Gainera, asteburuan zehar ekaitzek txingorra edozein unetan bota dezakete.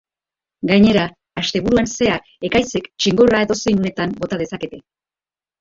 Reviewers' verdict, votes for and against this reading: accepted, 3, 0